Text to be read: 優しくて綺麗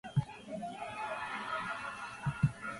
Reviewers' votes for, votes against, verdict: 4, 12, rejected